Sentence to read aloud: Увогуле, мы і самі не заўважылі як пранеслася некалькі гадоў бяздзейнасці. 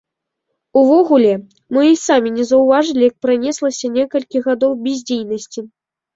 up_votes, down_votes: 2, 1